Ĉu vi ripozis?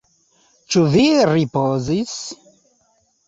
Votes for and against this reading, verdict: 1, 2, rejected